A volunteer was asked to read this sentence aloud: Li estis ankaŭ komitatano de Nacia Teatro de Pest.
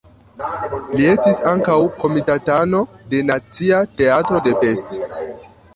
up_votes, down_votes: 2, 0